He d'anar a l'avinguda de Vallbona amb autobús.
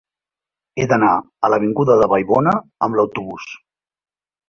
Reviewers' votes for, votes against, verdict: 0, 2, rejected